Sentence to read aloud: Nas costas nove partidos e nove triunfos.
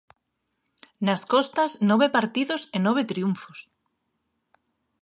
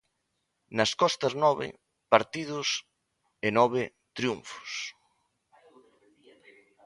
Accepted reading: first